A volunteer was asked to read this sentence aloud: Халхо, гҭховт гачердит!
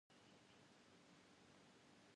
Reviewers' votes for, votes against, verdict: 1, 2, rejected